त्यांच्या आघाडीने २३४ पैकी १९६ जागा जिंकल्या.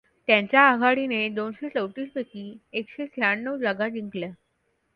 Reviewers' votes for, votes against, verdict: 0, 2, rejected